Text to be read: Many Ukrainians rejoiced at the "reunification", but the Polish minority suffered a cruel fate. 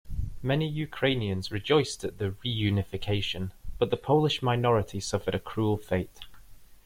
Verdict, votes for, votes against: accepted, 2, 0